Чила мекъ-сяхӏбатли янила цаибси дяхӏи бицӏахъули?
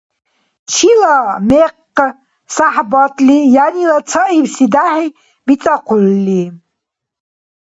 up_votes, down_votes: 0, 2